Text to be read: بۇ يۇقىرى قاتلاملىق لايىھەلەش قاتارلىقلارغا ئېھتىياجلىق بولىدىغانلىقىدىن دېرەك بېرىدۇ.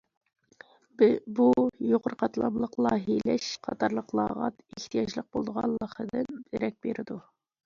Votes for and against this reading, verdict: 0, 2, rejected